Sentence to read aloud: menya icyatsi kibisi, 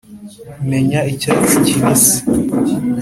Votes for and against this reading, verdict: 2, 0, accepted